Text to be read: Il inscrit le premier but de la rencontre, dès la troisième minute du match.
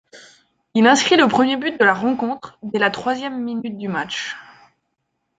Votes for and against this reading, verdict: 2, 1, accepted